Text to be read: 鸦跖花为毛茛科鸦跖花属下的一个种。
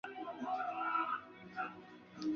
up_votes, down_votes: 1, 3